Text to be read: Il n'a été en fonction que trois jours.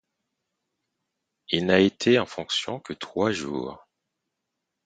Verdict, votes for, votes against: accepted, 4, 0